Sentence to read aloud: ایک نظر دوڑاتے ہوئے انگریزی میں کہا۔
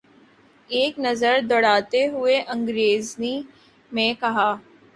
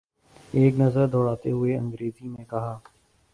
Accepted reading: second